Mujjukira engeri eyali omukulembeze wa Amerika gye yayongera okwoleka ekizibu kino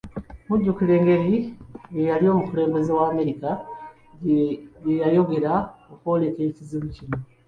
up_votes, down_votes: 2, 0